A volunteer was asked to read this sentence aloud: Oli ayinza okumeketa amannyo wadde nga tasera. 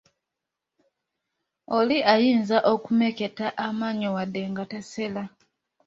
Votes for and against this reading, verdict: 2, 0, accepted